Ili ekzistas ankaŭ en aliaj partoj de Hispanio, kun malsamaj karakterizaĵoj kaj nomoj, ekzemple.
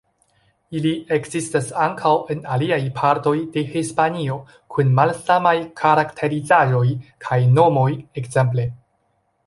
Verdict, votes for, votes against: rejected, 1, 2